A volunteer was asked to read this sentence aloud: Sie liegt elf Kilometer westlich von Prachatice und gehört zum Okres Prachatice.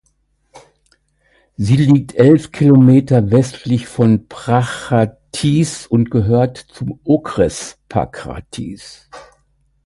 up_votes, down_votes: 2, 1